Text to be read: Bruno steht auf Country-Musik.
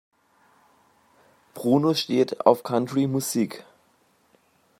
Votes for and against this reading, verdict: 2, 1, accepted